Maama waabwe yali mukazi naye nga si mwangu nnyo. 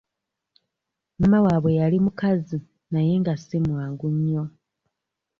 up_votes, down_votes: 0, 2